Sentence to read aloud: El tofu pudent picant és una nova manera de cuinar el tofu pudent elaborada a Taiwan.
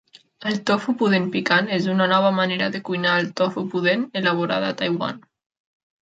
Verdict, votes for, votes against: accepted, 3, 0